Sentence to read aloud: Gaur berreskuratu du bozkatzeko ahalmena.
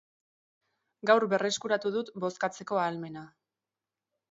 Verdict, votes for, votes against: rejected, 1, 2